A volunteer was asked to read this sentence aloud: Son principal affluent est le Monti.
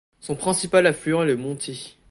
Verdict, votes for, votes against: accepted, 2, 0